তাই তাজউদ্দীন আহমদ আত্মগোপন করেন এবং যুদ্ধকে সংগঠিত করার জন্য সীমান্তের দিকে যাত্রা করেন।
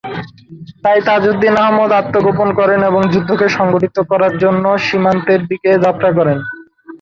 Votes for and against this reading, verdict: 3, 1, accepted